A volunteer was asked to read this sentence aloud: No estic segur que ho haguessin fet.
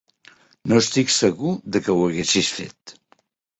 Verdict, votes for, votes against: rejected, 1, 2